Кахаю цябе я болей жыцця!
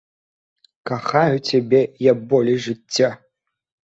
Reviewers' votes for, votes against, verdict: 2, 0, accepted